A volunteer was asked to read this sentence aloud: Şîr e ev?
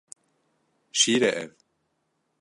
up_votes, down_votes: 2, 0